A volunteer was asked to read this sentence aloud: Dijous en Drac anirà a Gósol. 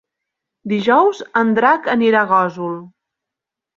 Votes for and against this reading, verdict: 5, 0, accepted